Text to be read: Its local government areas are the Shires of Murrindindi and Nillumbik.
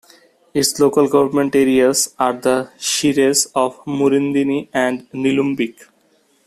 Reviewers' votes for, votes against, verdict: 1, 2, rejected